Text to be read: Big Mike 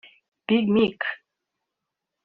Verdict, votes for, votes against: rejected, 1, 2